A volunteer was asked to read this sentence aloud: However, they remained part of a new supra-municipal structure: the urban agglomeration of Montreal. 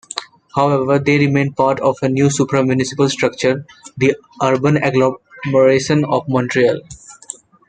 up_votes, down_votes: 1, 2